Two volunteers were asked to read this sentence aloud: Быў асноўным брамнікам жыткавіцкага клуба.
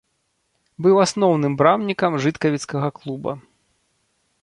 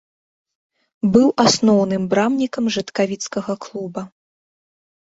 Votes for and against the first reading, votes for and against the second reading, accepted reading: 2, 0, 1, 2, first